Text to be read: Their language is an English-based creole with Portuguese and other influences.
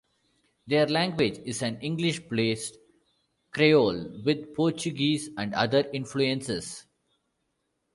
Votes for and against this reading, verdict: 1, 2, rejected